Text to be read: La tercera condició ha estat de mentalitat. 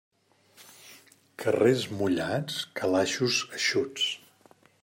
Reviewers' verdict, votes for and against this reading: rejected, 0, 2